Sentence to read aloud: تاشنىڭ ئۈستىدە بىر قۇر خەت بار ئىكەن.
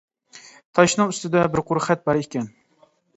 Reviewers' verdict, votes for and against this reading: accepted, 2, 0